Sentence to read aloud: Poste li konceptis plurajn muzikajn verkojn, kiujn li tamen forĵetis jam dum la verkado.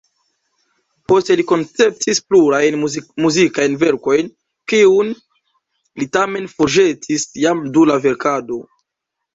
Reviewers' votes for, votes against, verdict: 1, 2, rejected